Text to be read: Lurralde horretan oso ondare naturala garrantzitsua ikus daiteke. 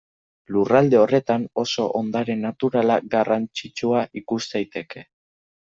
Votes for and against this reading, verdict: 2, 0, accepted